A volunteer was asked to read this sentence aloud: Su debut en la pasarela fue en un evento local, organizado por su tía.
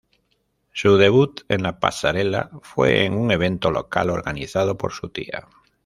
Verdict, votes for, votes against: rejected, 0, 2